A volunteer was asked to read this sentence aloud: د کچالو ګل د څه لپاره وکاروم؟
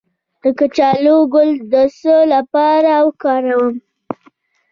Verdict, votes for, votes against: rejected, 1, 2